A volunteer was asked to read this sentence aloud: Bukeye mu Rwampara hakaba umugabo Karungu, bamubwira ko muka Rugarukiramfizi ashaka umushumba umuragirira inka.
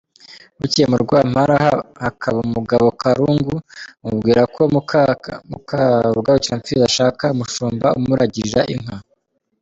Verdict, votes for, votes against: rejected, 1, 2